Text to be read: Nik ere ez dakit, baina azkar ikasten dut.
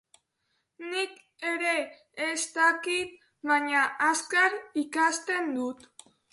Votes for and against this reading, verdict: 0, 2, rejected